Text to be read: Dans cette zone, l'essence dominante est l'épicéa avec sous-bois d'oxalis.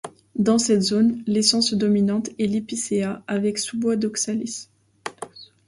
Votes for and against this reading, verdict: 2, 1, accepted